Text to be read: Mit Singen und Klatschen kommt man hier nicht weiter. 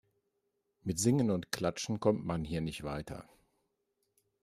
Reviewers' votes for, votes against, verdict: 3, 0, accepted